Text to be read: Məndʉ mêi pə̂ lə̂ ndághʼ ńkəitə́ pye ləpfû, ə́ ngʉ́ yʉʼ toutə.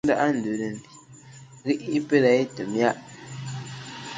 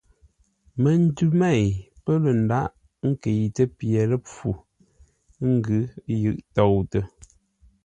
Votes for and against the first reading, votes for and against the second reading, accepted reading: 0, 2, 2, 0, second